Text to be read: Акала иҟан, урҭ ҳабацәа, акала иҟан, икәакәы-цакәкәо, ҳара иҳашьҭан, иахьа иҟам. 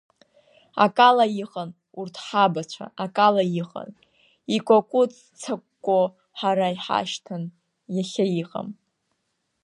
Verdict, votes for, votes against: accepted, 2, 0